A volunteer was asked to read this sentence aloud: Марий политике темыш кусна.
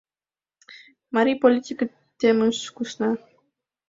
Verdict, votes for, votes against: accepted, 2, 0